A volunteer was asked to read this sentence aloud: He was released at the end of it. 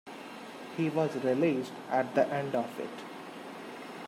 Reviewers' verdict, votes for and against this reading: accepted, 2, 0